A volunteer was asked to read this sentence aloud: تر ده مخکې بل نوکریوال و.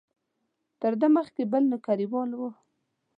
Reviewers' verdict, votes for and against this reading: accepted, 2, 0